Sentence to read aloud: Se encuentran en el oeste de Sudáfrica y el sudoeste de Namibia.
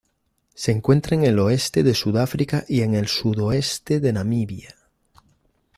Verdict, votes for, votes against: rejected, 1, 2